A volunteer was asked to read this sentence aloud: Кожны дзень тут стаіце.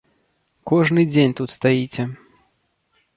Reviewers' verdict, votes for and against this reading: accepted, 2, 0